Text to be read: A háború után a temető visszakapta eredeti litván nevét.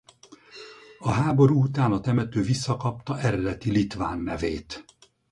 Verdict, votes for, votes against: accepted, 4, 0